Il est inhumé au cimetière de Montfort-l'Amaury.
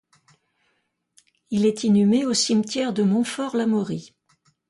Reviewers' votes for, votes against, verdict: 2, 0, accepted